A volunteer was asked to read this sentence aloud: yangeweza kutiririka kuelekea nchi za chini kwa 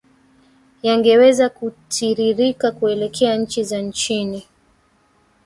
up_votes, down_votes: 1, 2